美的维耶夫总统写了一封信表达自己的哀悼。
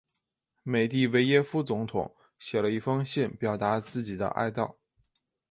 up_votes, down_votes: 2, 0